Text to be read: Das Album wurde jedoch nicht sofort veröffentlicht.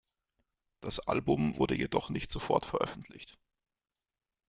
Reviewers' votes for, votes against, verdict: 2, 1, accepted